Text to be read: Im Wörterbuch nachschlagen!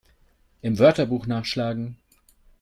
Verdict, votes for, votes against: accepted, 2, 0